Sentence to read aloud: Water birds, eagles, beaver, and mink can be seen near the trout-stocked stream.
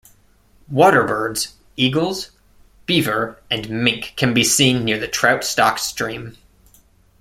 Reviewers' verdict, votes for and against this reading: accepted, 2, 0